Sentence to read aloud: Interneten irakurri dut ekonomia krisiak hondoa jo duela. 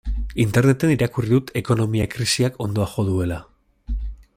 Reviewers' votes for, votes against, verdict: 2, 0, accepted